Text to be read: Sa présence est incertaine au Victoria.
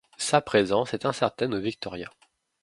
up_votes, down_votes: 2, 0